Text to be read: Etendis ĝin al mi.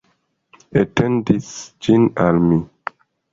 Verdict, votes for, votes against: accepted, 2, 0